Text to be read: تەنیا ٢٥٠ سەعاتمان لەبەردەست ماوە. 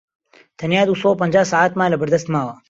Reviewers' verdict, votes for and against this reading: rejected, 0, 2